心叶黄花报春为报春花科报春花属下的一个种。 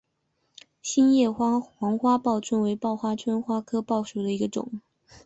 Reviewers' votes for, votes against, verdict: 0, 2, rejected